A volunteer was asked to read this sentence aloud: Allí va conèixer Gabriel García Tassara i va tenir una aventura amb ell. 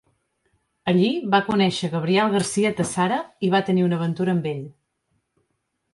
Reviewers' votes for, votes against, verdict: 2, 0, accepted